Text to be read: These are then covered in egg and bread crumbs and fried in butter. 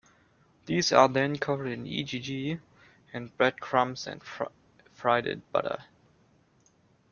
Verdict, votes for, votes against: rejected, 0, 2